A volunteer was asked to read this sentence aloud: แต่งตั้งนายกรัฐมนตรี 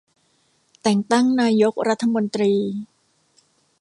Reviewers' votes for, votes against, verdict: 2, 0, accepted